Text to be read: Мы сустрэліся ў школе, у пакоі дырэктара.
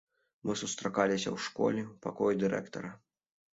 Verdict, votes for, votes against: rejected, 0, 2